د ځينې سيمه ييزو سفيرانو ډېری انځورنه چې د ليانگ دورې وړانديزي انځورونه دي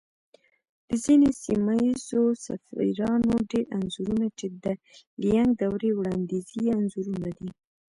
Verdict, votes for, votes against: accepted, 2, 0